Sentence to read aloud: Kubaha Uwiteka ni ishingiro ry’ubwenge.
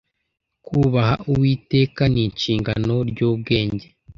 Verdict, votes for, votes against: rejected, 1, 2